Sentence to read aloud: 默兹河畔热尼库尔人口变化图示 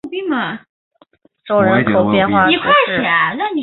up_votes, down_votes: 2, 4